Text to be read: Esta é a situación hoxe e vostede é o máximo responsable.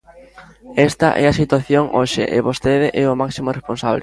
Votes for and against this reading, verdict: 2, 0, accepted